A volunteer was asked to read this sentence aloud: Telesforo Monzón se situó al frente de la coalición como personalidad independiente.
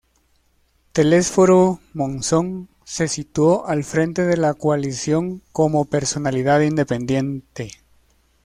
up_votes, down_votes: 0, 2